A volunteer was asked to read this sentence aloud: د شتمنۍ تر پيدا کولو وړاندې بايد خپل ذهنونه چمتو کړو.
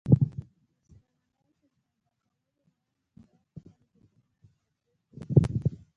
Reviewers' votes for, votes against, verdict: 1, 2, rejected